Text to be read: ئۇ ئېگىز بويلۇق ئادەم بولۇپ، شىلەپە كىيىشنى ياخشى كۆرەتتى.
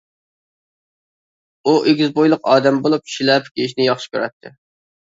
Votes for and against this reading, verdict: 2, 0, accepted